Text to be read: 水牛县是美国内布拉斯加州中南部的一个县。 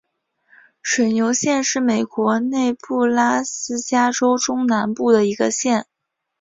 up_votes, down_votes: 6, 0